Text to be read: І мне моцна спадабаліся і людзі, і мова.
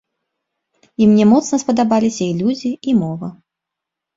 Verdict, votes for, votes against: accepted, 2, 0